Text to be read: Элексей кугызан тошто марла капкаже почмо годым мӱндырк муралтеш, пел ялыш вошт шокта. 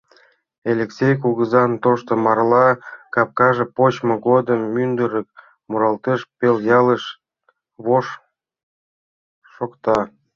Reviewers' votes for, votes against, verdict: 0, 2, rejected